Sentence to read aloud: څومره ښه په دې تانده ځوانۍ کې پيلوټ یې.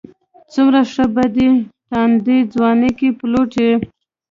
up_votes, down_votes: 2, 0